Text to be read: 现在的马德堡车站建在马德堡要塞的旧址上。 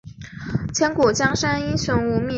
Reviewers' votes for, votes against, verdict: 1, 2, rejected